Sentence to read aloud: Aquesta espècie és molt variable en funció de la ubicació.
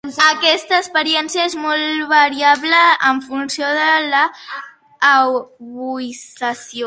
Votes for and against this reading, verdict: 0, 5, rejected